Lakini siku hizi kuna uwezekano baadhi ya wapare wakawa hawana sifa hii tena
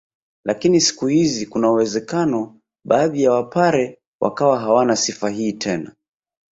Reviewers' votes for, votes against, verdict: 4, 2, accepted